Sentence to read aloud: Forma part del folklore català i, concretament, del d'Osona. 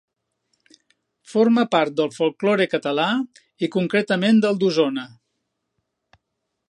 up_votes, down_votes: 2, 0